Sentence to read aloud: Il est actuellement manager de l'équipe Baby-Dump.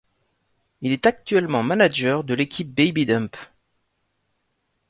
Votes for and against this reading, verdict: 2, 0, accepted